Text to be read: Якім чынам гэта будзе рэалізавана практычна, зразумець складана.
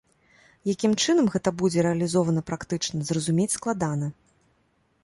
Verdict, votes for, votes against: rejected, 1, 2